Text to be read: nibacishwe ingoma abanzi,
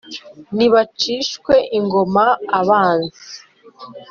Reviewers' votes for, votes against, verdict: 3, 0, accepted